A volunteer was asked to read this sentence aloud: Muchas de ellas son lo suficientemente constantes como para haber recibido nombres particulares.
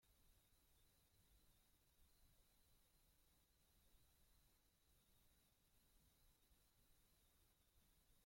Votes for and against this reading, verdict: 0, 2, rejected